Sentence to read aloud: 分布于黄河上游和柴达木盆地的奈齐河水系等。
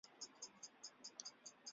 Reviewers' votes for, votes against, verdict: 1, 2, rejected